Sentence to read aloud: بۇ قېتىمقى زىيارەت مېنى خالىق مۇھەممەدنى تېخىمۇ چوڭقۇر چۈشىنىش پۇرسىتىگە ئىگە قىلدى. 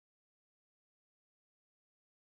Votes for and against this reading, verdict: 0, 2, rejected